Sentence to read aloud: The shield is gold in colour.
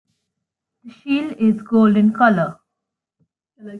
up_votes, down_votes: 0, 3